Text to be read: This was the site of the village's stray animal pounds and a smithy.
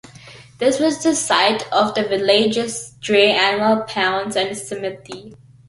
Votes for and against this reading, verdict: 0, 2, rejected